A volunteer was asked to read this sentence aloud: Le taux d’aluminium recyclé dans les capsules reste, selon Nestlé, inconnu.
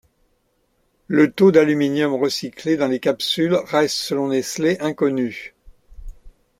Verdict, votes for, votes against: accepted, 2, 0